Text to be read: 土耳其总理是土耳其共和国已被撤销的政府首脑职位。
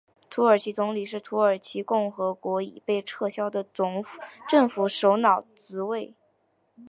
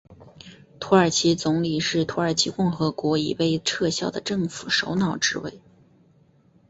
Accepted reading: first